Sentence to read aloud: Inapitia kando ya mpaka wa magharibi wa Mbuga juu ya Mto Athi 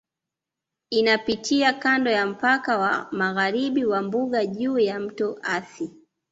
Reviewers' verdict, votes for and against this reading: accepted, 2, 0